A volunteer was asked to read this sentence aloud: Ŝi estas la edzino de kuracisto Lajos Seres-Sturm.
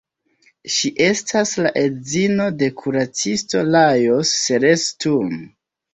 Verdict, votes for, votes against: accepted, 2, 1